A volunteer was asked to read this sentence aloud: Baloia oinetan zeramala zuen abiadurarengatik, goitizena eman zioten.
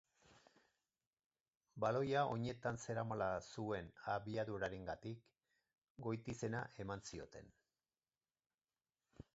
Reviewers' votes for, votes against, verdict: 4, 2, accepted